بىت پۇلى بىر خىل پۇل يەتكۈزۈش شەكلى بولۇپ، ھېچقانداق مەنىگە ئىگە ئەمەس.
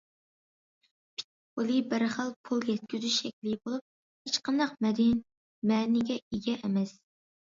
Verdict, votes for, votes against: rejected, 0, 2